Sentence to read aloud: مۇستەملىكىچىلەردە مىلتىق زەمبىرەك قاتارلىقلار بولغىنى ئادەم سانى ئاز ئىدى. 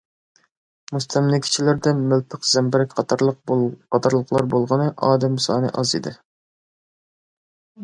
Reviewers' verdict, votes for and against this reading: rejected, 0, 2